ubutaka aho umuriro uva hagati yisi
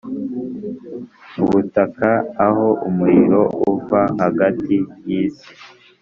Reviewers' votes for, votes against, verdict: 2, 0, accepted